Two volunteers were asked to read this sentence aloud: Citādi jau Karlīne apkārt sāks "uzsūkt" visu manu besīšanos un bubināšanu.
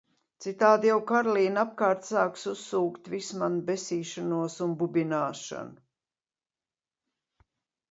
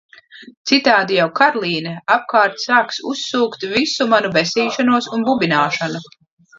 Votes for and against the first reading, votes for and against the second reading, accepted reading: 2, 0, 1, 2, first